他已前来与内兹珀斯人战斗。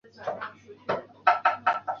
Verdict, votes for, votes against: rejected, 0, 2